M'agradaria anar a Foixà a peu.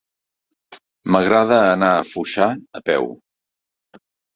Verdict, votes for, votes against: rejected, 1, 2